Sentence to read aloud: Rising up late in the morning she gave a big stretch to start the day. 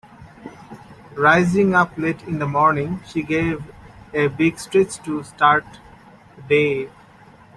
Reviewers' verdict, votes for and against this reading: rejected, 1, 2